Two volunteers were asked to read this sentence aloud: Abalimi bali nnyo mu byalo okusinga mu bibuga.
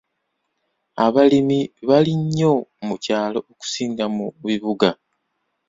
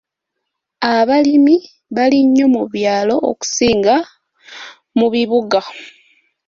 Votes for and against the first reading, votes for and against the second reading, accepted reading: 0, 2, 2, 0, second